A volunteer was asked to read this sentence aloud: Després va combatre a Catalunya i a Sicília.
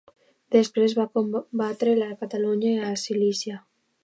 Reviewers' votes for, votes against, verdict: 0, 2, rejected